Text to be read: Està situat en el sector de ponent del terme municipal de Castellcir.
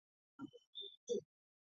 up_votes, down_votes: 0, 3